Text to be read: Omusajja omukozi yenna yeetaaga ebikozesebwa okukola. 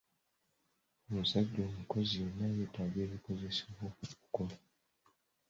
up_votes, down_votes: 1, 2